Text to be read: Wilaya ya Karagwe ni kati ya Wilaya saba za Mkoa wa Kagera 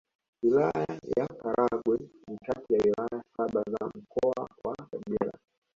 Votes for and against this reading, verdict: 1, 2, rejected